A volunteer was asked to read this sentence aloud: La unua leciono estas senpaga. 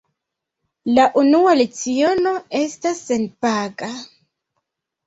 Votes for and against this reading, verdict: 2, 0, accepted